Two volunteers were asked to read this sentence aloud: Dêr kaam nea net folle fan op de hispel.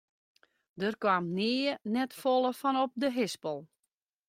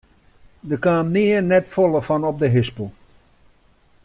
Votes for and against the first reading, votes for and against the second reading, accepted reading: 2, 1, 1, 2, first